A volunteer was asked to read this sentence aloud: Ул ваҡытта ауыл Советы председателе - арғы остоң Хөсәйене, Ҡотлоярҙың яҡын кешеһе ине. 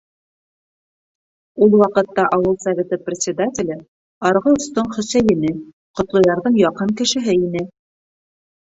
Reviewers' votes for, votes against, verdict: 4, 0, accepted